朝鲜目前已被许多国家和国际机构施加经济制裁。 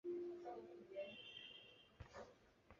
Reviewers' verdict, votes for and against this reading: rejected, 1, 5